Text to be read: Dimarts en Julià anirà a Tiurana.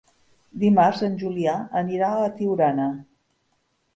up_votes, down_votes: 1, 2